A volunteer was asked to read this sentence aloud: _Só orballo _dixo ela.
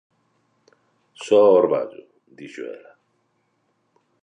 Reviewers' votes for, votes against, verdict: 2, 0, accepted